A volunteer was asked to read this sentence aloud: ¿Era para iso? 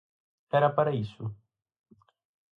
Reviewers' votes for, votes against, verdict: 4, 0, accepted